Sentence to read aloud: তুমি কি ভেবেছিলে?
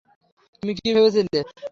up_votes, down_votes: 0, 3